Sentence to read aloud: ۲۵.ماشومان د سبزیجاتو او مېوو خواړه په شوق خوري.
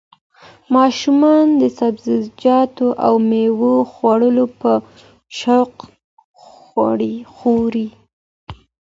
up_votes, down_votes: 0, 2